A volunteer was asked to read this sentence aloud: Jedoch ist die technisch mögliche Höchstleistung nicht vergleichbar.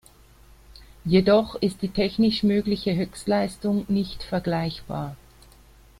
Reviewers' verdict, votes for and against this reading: accepted, 2, 0